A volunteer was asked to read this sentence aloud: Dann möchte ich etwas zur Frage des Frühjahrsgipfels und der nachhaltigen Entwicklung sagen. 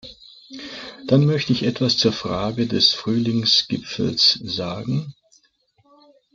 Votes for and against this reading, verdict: 0, 2, rejected